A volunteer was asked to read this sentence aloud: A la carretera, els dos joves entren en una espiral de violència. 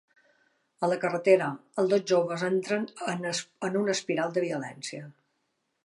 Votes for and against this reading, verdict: 1, 2, rejected